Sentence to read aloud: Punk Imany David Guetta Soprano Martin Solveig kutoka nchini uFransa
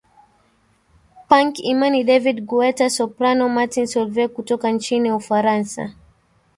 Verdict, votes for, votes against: rejected, 1, 2